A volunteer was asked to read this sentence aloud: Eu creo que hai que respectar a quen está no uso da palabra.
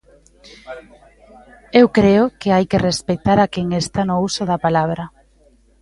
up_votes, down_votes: 2, 1